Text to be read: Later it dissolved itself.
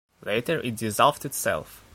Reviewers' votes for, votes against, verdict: 1, 2, rejected